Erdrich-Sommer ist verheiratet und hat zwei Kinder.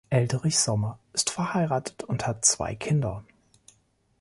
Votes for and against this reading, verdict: 1, 2, rejected